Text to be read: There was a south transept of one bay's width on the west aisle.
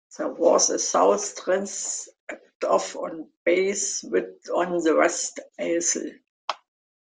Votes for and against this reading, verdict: 1, 4, rejected